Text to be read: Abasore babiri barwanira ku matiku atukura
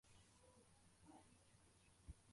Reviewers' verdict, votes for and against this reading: rejected, 0, 2